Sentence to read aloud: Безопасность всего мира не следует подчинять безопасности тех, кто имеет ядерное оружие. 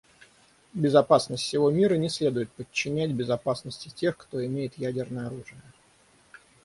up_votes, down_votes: 6, 0